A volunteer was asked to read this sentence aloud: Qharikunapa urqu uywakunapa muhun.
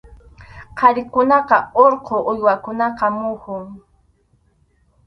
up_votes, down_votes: 0, 2